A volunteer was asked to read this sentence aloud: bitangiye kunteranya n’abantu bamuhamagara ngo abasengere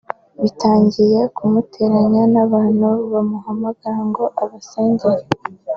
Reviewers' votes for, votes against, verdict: 2, 1, accepted